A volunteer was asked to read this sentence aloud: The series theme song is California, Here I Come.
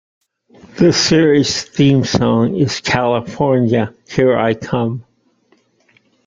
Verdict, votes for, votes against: rejected, 1, 2